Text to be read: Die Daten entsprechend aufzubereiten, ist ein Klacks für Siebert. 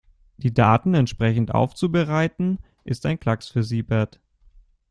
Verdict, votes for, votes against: accepted, 2, 0